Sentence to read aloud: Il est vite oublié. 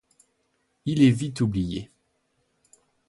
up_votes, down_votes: 2, 0